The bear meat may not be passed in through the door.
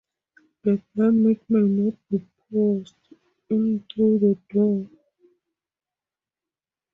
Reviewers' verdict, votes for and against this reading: rejected, 2, 2